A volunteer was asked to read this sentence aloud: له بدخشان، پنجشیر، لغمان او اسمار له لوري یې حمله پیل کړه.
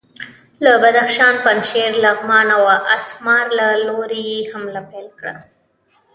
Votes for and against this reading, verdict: 3, 0, accepted